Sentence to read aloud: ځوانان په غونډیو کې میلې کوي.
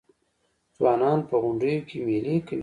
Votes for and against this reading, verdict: 1, 2, rejected